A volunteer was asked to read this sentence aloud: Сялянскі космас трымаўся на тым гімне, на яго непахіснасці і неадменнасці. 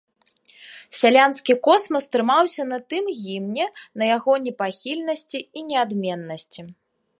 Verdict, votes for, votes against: rejected, 0, 2